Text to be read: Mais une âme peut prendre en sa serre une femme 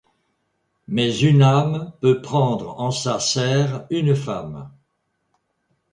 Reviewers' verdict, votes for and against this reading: rejected, 1, 2